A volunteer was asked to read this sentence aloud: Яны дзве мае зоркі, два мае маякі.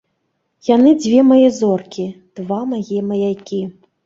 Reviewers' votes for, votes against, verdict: 2, 0, accepted